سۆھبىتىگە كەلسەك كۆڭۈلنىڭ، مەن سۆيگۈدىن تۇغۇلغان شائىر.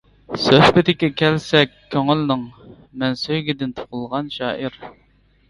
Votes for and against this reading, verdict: 1, 2, rejected